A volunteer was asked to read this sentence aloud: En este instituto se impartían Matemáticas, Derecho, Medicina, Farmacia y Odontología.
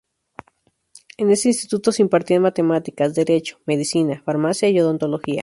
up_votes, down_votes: 2, 2